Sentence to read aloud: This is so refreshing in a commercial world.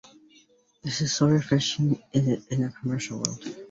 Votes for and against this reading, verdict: 0, 2, rejected